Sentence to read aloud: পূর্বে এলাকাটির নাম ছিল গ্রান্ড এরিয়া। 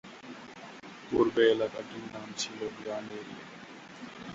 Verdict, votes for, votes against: rejected, 1, 2